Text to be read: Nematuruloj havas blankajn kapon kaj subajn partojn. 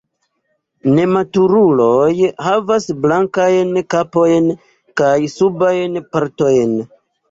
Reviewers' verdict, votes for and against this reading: rejected, 1, 2